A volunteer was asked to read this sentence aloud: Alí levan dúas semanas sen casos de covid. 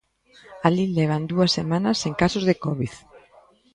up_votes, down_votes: 2, 0